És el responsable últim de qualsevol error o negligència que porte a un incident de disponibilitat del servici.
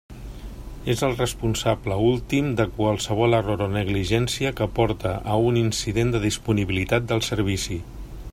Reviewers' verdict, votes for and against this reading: accepted, 2, 0